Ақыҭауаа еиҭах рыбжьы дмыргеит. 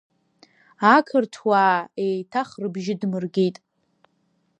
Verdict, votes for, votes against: accepted, 2, 1